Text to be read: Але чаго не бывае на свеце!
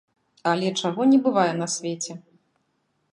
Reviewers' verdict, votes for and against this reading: accepted, 2, 0